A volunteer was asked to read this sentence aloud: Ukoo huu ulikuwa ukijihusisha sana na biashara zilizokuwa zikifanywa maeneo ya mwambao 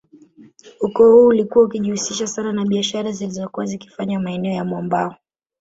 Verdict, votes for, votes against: rejected, 1, 2